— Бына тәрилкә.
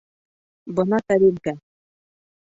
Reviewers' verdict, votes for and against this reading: rejected, 1, 2